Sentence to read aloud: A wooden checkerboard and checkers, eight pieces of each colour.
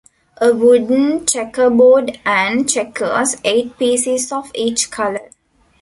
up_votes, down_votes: 2, 0